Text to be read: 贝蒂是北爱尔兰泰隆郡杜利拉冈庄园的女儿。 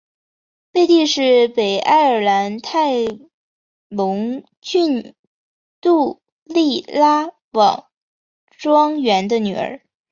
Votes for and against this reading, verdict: 2, 0, accepted